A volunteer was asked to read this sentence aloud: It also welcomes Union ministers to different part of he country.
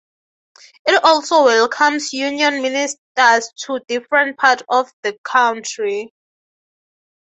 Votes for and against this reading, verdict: 3, 3, rejected